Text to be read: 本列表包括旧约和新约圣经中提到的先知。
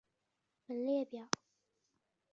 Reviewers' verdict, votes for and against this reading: rejected, 3, 5